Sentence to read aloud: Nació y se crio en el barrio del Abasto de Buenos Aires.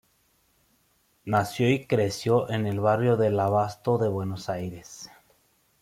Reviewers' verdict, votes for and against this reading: rejected, 1, 2